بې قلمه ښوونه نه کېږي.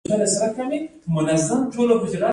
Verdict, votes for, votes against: rejected, 1, 2